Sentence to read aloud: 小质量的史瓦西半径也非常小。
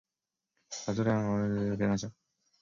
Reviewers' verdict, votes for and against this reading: rejected, 0, 2